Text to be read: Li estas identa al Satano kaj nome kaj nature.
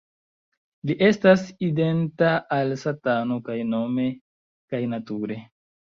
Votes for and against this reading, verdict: 2, 1, accepted